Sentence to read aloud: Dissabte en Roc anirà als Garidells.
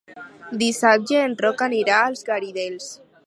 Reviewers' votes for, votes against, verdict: 0, 6, rejected